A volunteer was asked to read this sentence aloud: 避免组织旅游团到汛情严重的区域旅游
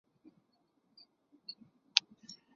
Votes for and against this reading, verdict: 0, 2, rejected